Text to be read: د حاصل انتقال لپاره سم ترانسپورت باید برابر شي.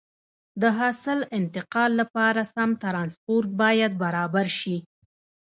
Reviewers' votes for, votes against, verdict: 0, 2, rejected